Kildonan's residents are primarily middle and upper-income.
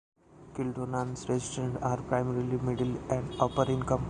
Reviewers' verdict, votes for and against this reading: accepted, 2, 0